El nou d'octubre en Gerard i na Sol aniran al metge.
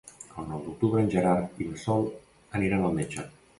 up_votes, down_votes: 2, 0